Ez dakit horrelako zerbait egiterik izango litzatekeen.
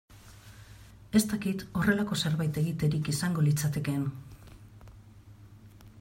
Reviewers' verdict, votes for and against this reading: accepted, 2, 0